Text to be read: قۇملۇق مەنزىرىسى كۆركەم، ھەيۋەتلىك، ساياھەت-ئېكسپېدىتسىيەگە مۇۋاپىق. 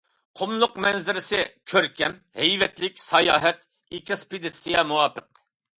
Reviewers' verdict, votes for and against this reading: rejected, 0, 2